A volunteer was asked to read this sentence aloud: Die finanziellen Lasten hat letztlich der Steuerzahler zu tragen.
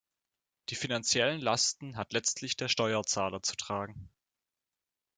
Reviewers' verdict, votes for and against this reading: accepted, 2, 0